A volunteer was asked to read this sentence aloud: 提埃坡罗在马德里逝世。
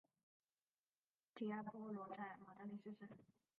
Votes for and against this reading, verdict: 0, 4, rejected